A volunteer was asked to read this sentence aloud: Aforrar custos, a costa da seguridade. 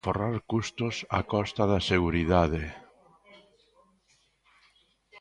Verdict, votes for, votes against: rejected, 1, 2